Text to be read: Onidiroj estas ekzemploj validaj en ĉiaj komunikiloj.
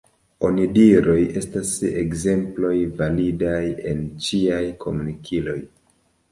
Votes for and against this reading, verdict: 2, 1, accepted